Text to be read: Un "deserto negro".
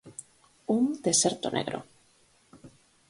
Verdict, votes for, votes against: accepted, 4, 0